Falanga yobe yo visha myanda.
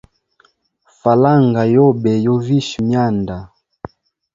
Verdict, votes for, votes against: accepted, 2, 0